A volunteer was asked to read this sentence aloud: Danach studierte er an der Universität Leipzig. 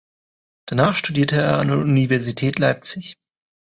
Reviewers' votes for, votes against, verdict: 2, 1, accepted